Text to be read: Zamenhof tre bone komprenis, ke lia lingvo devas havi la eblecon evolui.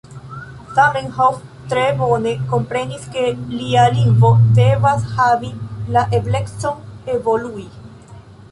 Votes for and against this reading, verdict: 1, 2, rejected